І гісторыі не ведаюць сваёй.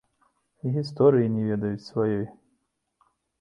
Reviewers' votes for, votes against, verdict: 2, 0, accepted